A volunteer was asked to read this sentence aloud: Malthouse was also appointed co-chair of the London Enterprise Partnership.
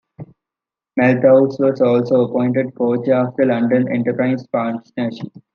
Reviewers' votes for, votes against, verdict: 2, 1, accepted